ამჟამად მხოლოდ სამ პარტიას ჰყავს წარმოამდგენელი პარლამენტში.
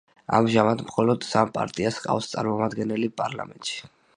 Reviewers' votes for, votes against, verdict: 2, 0, accepted